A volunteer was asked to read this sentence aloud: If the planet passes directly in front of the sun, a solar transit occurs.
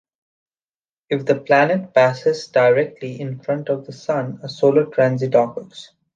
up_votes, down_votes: 2, 0